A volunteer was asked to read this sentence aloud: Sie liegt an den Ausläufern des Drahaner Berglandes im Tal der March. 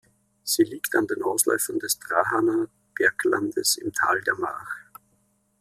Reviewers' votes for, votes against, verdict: 2, 0, accepted